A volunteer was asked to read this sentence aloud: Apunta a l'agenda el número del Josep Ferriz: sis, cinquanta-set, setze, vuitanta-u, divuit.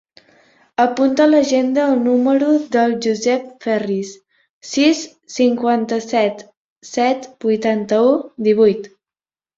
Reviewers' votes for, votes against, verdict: 0, 2, rejected